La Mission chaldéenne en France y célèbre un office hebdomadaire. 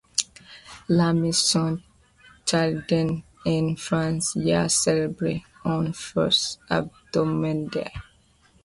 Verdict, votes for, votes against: rejected, 0, 2